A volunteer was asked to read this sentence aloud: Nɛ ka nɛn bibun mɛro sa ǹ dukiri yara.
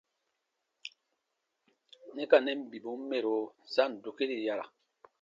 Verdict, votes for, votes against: accepted, 2, 0